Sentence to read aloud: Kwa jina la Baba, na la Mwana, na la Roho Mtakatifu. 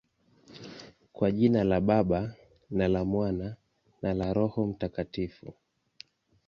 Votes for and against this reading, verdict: 2, 0, accepted